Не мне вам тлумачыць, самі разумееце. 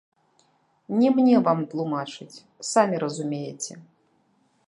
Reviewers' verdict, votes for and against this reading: rejected, 1, 2